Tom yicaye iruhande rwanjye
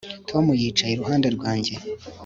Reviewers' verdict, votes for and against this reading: accepted, 2, 0